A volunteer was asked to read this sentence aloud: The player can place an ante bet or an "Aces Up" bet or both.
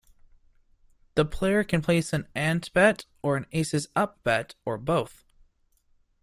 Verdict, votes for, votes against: rejected, 0, 2